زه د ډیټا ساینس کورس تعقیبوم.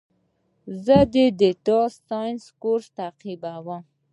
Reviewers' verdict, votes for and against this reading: accepted, 2, 0